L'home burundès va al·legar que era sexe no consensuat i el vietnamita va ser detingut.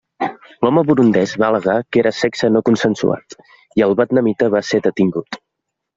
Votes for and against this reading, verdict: 1, 2, rejected